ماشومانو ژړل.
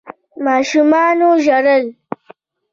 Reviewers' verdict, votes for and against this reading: accepted, 2, 1